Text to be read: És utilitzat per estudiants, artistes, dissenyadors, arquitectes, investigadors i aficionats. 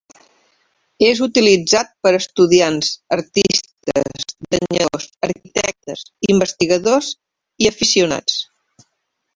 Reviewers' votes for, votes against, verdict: 0, 3, rejected